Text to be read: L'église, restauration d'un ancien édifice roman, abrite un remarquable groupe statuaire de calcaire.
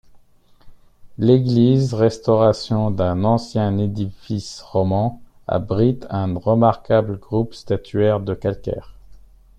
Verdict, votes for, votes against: accepted, 2, 1